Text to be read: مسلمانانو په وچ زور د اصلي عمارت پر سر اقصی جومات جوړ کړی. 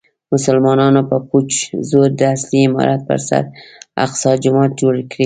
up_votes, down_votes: 0, 2